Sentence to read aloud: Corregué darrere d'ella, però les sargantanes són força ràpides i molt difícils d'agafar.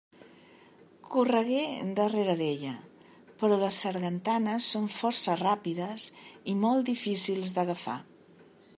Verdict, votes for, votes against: accepted, 3, 0